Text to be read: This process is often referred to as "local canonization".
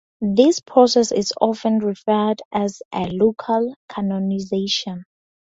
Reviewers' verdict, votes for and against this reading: rejected, 0, 4